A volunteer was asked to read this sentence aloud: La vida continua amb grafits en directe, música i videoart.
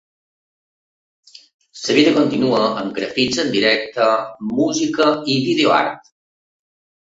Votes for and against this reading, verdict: 0, 2, rejected